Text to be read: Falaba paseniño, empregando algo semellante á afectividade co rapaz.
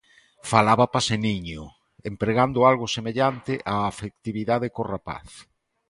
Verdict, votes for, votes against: accepted, 2, 1